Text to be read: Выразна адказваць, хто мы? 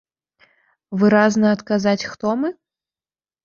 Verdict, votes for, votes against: rejected, 1, 2